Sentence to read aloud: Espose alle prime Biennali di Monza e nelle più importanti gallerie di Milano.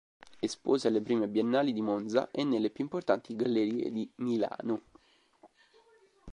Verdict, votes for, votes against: accepted, 2, 0